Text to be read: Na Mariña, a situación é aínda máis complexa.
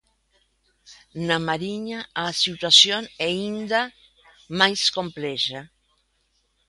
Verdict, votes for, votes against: rejected, 0, 2